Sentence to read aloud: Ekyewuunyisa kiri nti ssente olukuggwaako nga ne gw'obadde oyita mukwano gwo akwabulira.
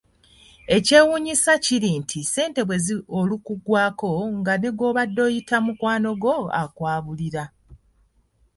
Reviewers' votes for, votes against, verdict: 0, 2, rejected